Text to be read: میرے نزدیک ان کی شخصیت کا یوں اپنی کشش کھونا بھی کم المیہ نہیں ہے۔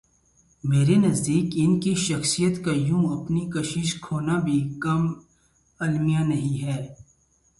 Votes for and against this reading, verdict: 2, 4, rejected